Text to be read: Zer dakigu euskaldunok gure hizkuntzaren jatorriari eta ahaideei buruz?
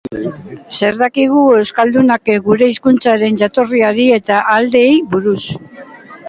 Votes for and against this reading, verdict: 2, 0, accepted